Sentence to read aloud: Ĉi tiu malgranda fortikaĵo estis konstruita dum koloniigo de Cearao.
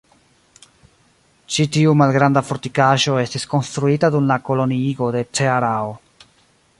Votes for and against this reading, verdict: 1, 2, rejected